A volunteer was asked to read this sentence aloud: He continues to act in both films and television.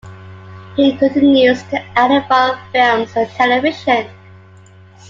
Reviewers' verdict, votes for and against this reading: rejected, 0, 2